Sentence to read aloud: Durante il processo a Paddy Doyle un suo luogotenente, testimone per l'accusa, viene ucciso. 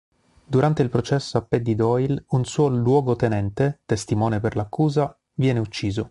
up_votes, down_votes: 3, 0